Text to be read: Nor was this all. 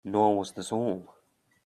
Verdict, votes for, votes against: accepted, 2, 0